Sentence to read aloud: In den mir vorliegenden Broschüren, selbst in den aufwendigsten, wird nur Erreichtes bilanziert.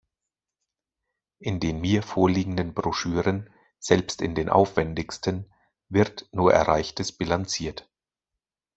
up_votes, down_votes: 2, 0